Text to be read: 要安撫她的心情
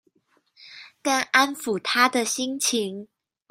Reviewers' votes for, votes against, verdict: 1, 2, rejected